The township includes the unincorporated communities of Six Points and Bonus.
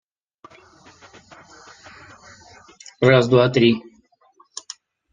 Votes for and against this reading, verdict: 0, 2, rejected